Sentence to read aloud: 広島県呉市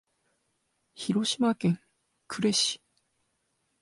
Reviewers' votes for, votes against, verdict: 2, 0, accepted